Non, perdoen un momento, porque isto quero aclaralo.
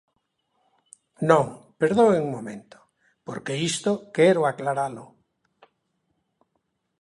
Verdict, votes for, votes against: accepted, 2, 0